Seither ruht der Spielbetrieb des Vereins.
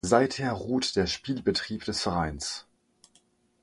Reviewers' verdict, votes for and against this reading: accepted, 6, 0